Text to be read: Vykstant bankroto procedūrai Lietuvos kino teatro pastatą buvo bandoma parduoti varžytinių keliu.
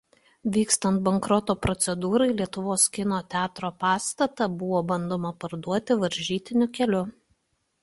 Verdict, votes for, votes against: accepted, 2, 0